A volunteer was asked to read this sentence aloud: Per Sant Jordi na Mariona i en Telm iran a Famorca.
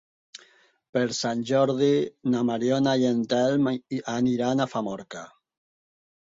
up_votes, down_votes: 0, 4